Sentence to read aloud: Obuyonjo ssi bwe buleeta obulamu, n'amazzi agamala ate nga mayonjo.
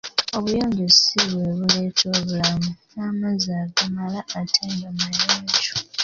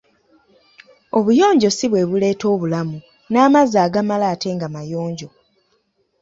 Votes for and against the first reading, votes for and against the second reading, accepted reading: 1, 2, 2, 0, second